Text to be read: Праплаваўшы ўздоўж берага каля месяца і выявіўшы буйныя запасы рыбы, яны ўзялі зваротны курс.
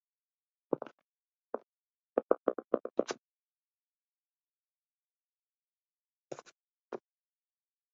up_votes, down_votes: 0, 2